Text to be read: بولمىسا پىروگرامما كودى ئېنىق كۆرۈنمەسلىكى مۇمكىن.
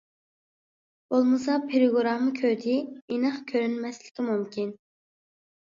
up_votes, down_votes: 0, 2